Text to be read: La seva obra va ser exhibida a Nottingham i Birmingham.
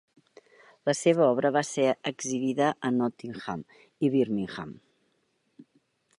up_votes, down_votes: 3, 0